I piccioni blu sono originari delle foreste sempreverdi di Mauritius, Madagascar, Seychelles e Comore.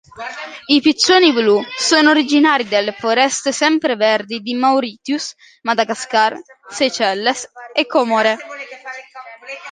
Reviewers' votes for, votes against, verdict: 0, 2, rejected